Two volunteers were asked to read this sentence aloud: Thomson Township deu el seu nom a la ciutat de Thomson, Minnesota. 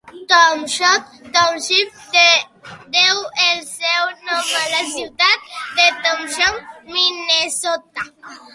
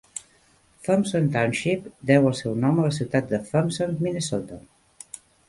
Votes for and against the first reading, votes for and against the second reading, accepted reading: 0, 2, 2, 0, second